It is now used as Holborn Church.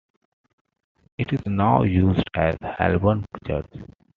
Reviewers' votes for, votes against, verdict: 1, 2, rejected